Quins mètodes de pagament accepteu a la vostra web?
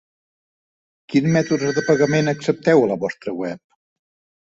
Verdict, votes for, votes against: rejected, 0, 2